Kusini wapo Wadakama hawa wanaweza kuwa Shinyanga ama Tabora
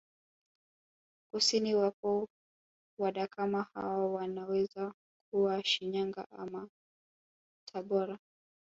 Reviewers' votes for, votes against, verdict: 1, 2, rejected